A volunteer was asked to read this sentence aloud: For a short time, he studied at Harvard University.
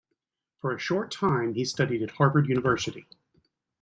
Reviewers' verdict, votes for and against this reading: accepted, 2, 0